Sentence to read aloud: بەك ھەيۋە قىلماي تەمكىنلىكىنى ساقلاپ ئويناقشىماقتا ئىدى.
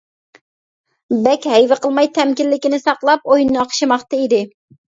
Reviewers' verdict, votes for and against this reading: rejected, 1, 2